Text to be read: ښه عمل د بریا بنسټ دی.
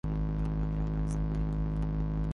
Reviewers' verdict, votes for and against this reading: rejected, 0, 2